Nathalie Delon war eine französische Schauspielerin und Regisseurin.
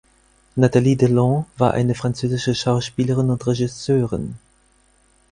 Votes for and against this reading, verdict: 4, 0, accepted